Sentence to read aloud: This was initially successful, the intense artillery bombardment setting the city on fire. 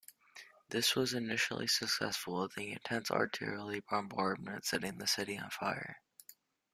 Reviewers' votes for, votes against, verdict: 1, 3, rejected